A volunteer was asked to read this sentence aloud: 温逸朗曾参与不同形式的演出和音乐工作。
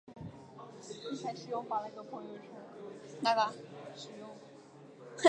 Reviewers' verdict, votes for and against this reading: accepted, 2, 1